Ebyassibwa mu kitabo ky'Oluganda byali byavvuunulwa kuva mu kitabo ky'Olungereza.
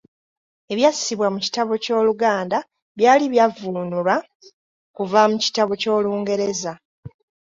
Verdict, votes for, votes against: accepted, 2, 0